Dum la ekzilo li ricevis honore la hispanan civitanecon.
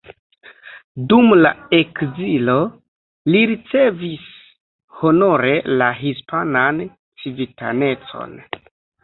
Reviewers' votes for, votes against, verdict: 0, 2, rejected